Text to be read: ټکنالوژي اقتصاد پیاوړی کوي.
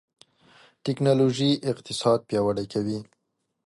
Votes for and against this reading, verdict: 2, 0, accepted